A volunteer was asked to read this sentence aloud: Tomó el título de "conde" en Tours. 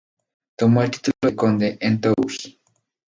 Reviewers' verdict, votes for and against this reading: rejected, 0, 2